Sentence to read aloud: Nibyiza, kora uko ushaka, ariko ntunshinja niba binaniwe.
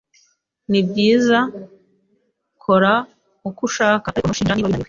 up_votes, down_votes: 1, 2